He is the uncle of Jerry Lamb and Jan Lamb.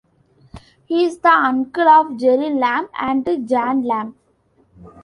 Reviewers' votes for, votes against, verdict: 2, 0, accepted